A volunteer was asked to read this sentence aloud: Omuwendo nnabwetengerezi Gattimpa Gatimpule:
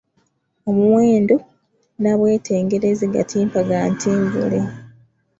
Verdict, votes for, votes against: rejected, 1, 2